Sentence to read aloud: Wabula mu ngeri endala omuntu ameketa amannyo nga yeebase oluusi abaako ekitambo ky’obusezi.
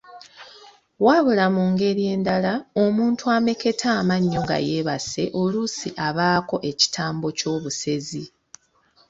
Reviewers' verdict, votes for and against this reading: accepted, 2, 0